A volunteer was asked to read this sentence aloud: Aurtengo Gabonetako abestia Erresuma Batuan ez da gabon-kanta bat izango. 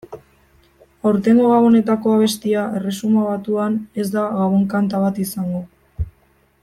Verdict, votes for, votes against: rejected, 0, 2